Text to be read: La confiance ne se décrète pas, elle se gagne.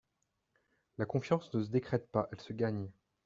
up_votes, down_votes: 3, 1